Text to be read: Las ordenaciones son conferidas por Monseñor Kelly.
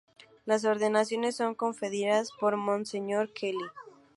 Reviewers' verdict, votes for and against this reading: accepted, 2, 0